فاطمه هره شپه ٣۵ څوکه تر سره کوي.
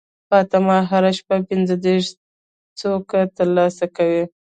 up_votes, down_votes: 0, 2